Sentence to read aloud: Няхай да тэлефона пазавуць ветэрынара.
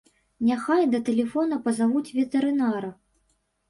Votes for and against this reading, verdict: 3, 0, accepted